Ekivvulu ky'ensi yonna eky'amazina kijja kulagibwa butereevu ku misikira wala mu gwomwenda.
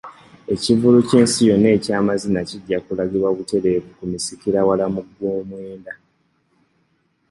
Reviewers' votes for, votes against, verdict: 2, 0, accepted